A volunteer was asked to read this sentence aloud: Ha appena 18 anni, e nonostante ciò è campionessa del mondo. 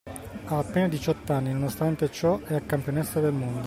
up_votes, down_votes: 0, 2